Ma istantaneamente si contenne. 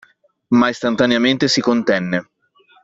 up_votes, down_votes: 2, 0